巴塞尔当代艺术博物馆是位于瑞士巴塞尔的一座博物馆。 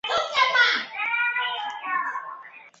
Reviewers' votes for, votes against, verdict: 0, 3, rejected